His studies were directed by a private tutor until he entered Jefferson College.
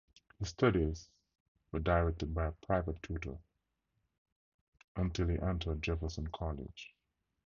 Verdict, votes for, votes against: rejected, 0, 2